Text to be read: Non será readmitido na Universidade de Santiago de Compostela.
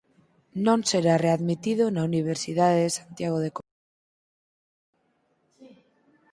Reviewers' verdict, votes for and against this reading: rejected, 0, 4